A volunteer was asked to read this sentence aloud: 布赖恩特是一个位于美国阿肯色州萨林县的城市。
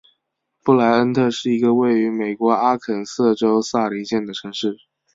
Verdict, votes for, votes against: accepted, 2, 0